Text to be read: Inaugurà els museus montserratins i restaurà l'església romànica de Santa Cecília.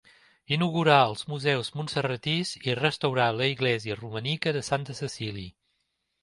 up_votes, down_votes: 2, 1